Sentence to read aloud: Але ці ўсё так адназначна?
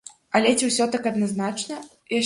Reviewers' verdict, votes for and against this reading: rejected, 0, 2